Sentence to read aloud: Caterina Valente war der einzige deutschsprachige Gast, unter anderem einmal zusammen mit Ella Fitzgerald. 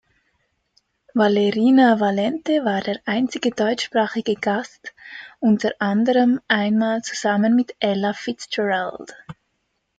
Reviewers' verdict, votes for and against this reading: rejected, 1, 2